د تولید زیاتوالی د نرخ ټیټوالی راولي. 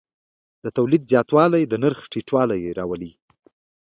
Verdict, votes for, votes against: accepted, 2, 1